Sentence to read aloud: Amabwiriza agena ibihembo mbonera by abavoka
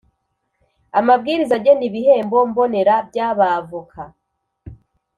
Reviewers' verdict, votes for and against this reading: accepted, 6, 0